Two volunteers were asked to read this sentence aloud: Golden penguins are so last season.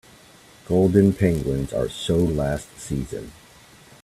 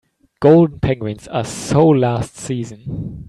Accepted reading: first